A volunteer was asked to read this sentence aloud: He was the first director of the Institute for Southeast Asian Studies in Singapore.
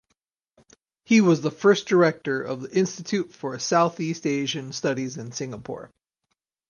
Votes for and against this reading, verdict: 4, 0, accepted